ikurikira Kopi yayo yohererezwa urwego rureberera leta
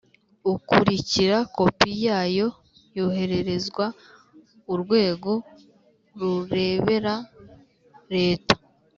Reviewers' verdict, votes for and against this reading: rejected, 0, 2